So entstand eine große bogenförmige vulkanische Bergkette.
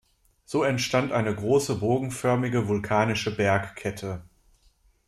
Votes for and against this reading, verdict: 2, 0, accepted